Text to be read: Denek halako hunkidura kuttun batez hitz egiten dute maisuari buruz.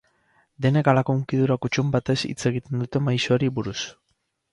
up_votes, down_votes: 2, 2